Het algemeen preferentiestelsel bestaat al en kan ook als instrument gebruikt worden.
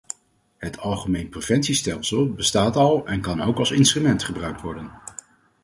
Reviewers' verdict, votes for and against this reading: rejected, 0, 4